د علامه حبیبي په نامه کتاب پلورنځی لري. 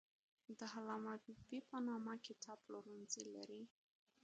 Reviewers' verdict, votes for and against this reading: rejected, 0, 2